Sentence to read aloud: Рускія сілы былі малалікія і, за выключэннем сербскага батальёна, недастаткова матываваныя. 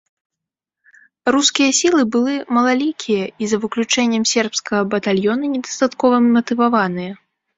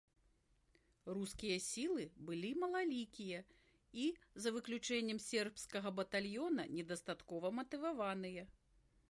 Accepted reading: second